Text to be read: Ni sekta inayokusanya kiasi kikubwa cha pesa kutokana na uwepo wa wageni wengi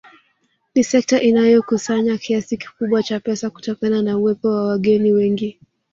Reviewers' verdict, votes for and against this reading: rejected, 1, 2